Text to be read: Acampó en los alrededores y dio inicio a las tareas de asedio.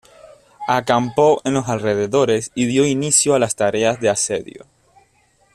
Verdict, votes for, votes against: accepted, 2, 0